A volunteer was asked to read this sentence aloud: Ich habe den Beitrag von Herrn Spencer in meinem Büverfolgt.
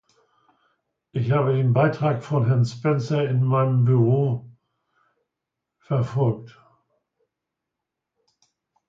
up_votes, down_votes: 0, 2